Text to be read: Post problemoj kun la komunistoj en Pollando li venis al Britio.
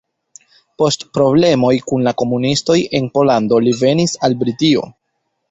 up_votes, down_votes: 1, 2